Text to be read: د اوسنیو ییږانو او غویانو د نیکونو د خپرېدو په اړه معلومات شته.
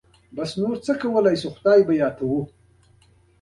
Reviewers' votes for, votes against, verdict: 2, 1, accepted